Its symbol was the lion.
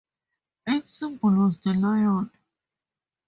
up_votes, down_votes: 2, 0